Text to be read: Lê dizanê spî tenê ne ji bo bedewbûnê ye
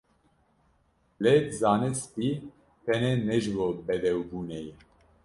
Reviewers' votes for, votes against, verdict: 0, 2, rejected